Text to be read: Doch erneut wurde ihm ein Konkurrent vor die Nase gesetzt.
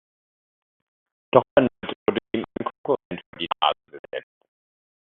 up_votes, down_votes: 0, 2